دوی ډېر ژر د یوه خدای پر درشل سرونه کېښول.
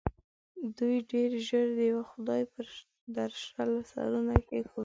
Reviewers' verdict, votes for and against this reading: accepted, 2, 1